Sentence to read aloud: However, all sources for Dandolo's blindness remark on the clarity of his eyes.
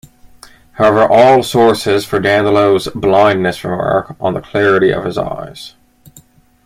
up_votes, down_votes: 1, 2